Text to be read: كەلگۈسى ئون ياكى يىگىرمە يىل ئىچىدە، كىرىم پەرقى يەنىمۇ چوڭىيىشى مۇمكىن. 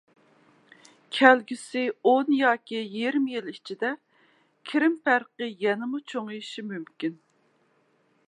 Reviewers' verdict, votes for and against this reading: rejected, 0, 2